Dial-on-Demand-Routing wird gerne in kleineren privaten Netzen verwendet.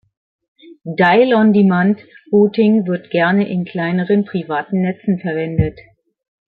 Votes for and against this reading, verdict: 2, 0, accepted